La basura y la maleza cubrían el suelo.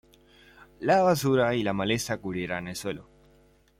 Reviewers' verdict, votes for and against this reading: rejected, 1, 2